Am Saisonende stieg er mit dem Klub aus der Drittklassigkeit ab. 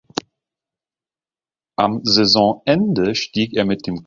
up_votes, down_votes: 0, 2